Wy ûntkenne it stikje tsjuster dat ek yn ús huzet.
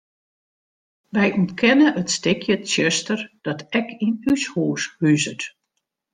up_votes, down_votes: 1, 2